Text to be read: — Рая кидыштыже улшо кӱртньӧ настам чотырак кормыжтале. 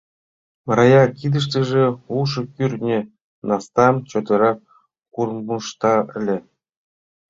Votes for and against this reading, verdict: 1, 2, rejected